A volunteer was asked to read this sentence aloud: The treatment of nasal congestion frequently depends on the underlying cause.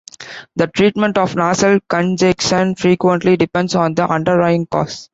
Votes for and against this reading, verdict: 1, 2, rejected